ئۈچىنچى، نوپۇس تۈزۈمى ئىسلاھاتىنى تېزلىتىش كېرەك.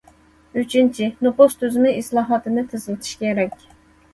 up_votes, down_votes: 2, 0